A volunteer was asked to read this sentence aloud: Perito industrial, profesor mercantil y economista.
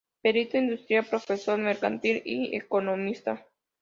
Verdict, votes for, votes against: accepted, 2, 0